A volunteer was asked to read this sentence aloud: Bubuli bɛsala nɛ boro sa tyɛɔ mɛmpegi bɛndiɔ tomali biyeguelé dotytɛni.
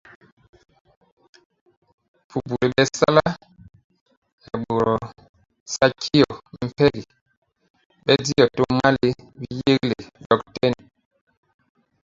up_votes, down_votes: 0, 2